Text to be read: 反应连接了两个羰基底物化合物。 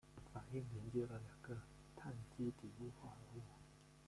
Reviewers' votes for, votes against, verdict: 0, 2, rejected